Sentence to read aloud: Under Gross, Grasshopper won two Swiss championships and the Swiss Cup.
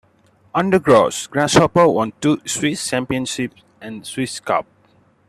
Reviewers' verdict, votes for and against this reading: accepted, 2, 1